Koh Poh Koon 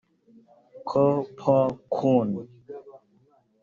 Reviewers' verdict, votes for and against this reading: rejected, 1, 2